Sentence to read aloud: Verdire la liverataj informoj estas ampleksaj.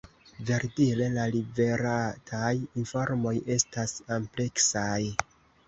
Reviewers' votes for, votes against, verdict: 2, 0, accepted